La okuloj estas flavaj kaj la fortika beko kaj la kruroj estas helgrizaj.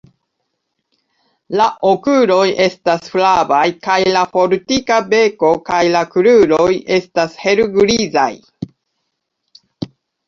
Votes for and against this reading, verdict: 2, 0, accepted